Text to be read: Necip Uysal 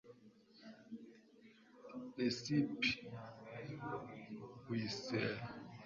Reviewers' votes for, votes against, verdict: 0, 2, rejected